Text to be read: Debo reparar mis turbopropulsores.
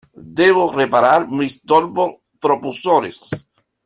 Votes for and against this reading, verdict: 1, 2, rejected